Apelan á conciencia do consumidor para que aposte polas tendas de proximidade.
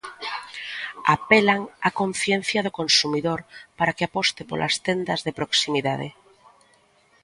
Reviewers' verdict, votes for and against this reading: accepted, 2, 0